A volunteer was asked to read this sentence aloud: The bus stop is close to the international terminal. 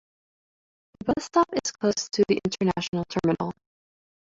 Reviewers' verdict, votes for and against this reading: accepted, 2, 0